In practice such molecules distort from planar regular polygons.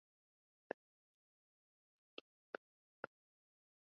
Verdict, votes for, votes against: rejected, 0, 2